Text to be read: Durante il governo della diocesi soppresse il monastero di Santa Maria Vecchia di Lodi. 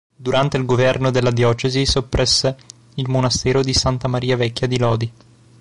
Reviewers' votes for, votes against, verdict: 2, 0, accepted